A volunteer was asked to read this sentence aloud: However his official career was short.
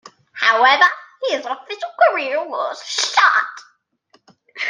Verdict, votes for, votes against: rejected, 0, 2